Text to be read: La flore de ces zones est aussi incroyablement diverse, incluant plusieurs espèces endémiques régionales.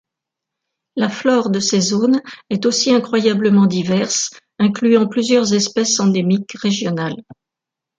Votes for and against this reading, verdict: 1, 2, rejected